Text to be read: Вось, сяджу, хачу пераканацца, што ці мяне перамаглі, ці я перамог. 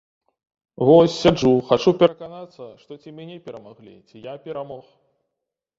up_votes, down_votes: 1, 2